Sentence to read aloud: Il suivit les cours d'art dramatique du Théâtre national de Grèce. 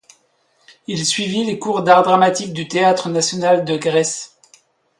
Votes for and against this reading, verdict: 2, 0, accepted